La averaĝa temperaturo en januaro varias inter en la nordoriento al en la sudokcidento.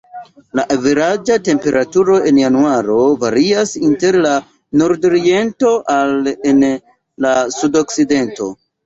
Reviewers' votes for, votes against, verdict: 1, 2, rejected